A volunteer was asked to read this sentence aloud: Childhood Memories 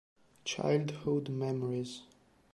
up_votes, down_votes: 2, 0